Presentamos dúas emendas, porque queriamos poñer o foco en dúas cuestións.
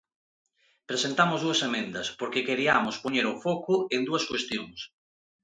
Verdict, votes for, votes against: accepted, 2, 0